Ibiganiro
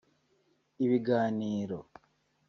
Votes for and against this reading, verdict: 4, 0, accepted